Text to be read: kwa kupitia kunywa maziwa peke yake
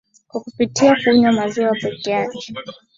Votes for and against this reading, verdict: 2, 0, accepted